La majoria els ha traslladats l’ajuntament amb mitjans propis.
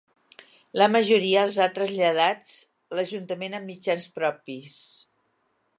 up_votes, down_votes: 2, 0